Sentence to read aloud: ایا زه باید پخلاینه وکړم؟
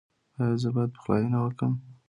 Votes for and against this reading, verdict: 2, 0, accepted